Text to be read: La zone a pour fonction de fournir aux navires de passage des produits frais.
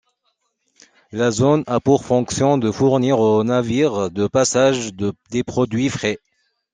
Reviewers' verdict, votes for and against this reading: accepted, 2, 0